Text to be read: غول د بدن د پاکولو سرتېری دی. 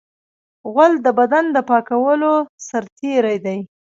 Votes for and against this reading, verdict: 1, 2, rejected